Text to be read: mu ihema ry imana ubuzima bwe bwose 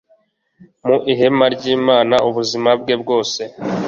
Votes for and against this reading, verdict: 2, 0, accepted